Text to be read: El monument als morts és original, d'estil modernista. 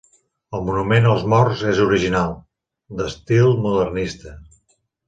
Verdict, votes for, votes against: accepted, 3, 0